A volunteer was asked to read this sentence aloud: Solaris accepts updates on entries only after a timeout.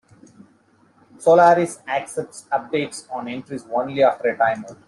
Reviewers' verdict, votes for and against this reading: accepted, 2, 0